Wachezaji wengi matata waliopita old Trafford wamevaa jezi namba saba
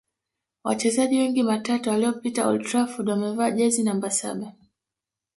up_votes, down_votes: 2, 0